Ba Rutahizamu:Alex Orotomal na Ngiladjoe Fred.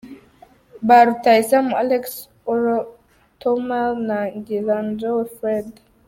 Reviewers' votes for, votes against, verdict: 2, 0, accepted